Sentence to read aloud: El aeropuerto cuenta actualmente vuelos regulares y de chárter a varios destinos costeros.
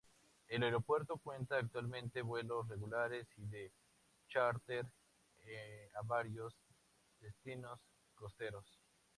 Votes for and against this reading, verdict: 2, 4, rejected